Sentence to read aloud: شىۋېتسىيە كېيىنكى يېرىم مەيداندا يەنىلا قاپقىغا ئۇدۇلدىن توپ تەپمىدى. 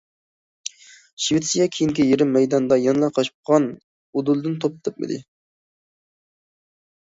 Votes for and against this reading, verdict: 0, 2, rejected